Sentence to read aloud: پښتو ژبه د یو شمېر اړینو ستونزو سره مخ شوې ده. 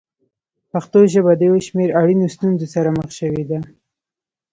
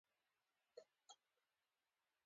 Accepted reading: second